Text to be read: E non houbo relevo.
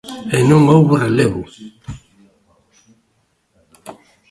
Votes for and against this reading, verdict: 1, 2, rejected